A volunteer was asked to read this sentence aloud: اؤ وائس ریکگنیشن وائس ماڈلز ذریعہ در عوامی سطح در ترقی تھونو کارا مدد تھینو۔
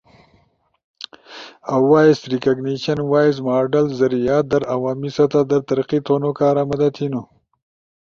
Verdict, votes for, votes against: accepted, 3, 0